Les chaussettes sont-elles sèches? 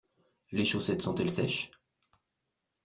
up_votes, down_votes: 2, 0